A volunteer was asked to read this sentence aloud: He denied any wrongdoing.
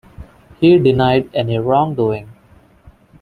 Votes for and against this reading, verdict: 2, 0, accepted